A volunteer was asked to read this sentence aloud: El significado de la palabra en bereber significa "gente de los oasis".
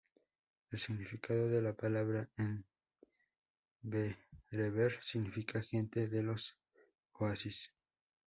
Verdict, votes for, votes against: rejected, 0, 2